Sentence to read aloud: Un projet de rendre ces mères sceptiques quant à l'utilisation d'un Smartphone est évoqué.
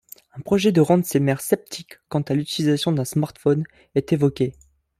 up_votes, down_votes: 2, 0